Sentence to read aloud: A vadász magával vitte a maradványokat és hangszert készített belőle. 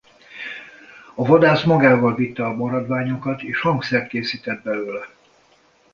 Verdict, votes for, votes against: accepted, 2, 0